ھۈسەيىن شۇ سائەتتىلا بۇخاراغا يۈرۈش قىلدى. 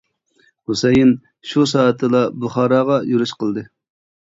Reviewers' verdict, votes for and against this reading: accepted, 2, 0